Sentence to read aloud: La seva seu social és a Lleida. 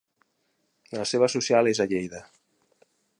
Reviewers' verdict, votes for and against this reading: rejected, 0, 2